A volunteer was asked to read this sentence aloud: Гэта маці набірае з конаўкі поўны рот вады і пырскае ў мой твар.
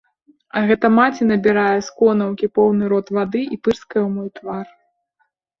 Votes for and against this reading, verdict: 0, 2, rejected